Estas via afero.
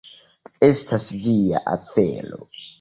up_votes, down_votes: 2, 0